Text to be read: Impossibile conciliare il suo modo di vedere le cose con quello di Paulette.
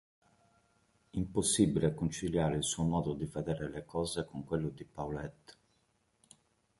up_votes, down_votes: 3, 1